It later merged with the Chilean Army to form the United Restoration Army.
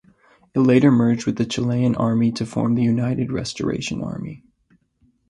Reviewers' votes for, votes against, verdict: 2, 0, accepted